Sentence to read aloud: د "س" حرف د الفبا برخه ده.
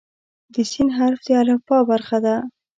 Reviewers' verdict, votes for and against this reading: accepted, 2, 0